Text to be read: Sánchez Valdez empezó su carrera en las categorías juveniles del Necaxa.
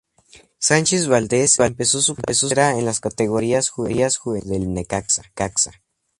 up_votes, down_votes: 2, 2